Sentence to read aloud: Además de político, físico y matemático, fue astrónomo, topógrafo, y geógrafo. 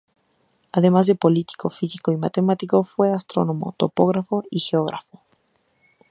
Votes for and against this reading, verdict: 2, 0, accepted